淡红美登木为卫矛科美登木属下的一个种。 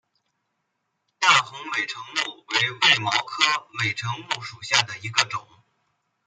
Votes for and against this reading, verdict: 2, 1, accepted